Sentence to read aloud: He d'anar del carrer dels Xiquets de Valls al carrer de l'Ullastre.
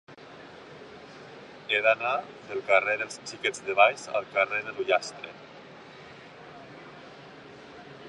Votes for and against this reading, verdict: 2, 1, accepted